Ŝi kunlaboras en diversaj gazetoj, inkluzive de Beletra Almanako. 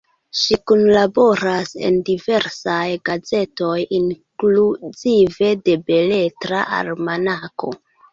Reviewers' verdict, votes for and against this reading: accepted, 2, 1